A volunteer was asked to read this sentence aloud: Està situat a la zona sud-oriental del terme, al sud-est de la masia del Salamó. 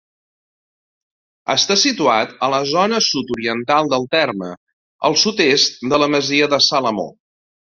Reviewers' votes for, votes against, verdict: 1, 2, rejected